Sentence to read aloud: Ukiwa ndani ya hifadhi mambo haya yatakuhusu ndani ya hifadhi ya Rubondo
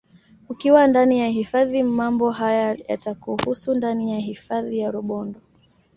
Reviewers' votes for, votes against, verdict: 2, 0, accepted